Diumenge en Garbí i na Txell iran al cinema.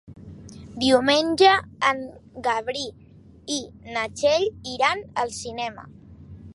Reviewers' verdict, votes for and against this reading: rejected, 0, 2